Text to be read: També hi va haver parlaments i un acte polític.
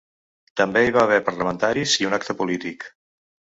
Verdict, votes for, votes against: rejected, 0, 2